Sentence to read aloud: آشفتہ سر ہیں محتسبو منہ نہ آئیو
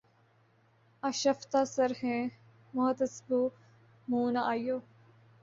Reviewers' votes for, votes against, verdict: 0, 2, rejected